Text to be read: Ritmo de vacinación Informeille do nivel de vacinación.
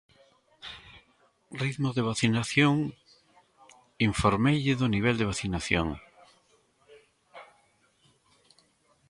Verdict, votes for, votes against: rejected, 1, 2